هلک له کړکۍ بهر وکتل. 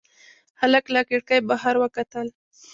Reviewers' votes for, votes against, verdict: 2, 0, accepted